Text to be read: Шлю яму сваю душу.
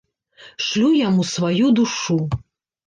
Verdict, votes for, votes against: rejected, 0, 2